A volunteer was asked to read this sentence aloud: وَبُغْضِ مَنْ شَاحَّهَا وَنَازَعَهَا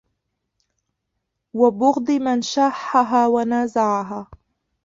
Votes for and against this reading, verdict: 0, 2, rejected